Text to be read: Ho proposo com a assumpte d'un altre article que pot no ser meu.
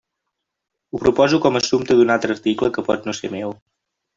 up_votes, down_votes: 3, 0